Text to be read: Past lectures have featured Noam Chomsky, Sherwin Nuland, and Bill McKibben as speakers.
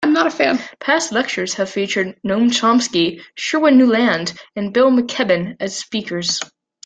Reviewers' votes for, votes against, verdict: 0, 2, rejected